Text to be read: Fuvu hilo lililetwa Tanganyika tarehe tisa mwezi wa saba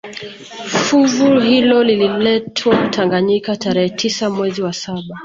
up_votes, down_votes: 2, 1